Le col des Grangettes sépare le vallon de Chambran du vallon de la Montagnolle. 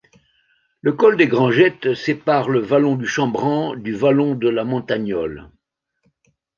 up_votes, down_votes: 0, 2